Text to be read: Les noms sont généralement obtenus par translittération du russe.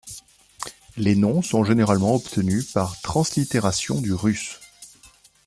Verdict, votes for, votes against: accepted, 2, 0